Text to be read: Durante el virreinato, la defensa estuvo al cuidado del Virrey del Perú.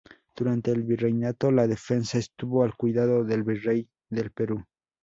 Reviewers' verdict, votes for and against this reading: rejected, 0, 2